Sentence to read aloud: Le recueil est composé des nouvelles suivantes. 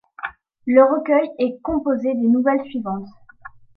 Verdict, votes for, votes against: accepted, 2, 0